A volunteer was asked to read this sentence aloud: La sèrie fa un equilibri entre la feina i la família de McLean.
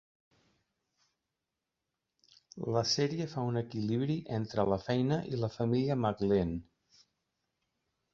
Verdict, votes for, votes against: accepted, 2, 0